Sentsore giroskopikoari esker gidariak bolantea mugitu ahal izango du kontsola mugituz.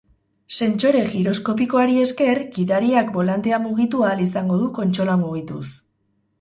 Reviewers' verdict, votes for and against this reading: accepted, 4, 0